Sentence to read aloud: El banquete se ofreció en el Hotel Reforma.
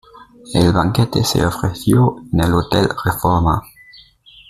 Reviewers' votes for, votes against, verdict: 2, 0, accepted